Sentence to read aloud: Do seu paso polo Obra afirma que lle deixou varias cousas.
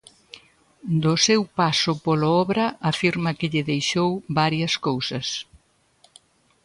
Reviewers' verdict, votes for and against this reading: accepted, 2, 0